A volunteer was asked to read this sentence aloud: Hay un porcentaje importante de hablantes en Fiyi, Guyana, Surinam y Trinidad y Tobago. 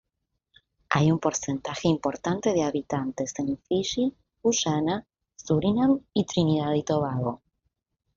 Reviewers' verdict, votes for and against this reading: rejected, 0, 2